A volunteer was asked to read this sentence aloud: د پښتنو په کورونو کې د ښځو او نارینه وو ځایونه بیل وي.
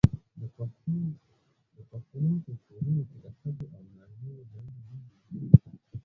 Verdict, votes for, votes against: rejected, 0, 2